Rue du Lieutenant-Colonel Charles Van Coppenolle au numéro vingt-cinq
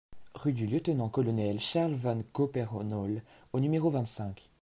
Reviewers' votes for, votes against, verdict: 0, 2, rejected